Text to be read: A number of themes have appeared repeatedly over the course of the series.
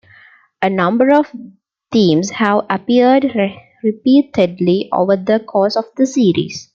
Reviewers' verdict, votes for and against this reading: rejected, 0, 2